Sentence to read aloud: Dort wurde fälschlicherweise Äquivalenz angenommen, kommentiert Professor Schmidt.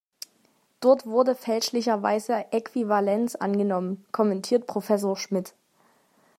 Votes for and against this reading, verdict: 2, 0, accepted